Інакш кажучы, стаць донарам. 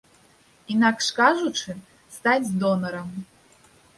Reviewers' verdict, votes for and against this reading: accepted, 2, 0